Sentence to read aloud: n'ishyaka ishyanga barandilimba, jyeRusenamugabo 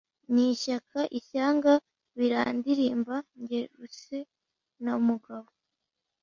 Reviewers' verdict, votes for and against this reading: rejected, 0, 2